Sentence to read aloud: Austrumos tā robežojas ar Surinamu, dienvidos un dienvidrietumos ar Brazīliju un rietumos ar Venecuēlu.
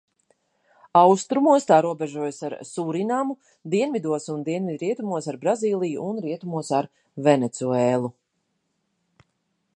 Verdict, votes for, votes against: accepted, 2, 0